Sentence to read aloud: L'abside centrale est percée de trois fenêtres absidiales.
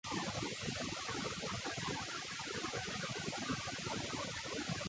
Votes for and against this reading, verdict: 0, 2, rejected